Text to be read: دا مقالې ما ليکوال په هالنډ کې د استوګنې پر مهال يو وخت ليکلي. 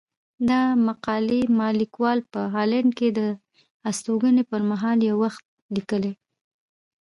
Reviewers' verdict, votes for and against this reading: rejected, 0, 2